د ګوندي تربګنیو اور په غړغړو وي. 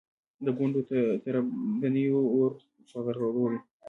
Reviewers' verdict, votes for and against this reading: accepted, 2, 0